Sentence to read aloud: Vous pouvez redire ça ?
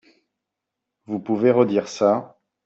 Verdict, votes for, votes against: accepted, 2, 1